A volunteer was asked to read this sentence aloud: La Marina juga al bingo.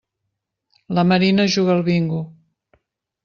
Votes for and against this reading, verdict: 3, 0, accepted